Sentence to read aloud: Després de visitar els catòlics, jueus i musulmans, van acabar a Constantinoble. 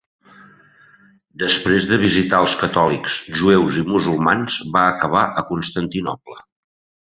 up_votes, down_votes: 2, 1